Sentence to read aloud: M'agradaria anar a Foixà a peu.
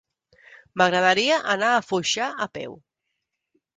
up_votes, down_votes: 2, 0